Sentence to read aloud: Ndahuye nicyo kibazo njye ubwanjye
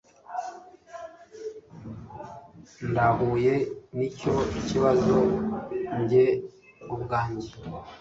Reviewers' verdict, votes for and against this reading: accepted, 2, 0